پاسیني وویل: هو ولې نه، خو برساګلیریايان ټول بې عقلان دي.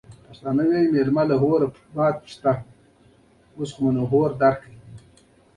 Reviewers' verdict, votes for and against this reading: rejected, 1, 2